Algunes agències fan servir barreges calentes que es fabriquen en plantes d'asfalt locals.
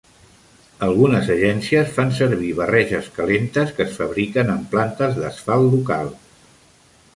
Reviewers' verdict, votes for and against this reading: accepted, 2, 0